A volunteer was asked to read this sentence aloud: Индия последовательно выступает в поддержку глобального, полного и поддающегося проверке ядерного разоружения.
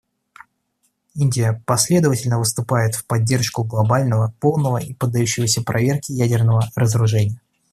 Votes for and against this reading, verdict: 2, 0, accepted